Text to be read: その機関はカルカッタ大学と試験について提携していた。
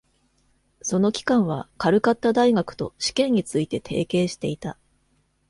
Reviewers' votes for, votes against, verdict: 2, 0, accepted